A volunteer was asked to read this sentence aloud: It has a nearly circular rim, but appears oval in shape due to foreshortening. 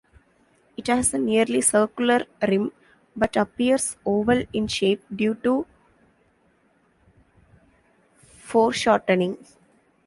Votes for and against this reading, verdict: 0, 2, rejected